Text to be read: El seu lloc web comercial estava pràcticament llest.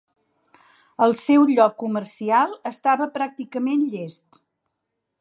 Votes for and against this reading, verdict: 1, 2, rejected